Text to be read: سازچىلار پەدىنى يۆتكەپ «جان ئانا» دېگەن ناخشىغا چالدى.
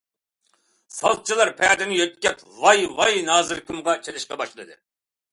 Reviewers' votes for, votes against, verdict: 0, 2, rejected